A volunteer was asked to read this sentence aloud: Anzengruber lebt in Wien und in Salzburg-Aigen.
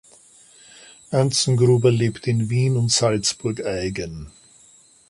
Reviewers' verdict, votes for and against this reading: accepted, 2, 0